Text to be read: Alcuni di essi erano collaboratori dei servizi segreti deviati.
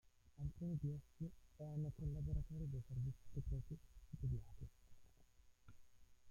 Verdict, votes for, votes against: rejected, 0, 2